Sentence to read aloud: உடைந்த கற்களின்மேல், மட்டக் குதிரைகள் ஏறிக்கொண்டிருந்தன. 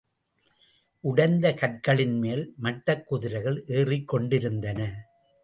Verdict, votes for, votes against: accepted, 2, 0